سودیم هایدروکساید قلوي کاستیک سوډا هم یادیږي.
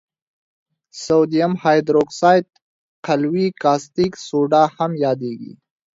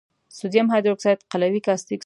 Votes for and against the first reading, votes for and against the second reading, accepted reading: 2, 0, 0, 2, first